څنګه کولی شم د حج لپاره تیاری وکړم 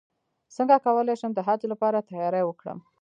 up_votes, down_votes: 0, 2